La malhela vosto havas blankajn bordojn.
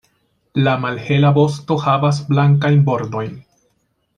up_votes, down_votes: 2, 0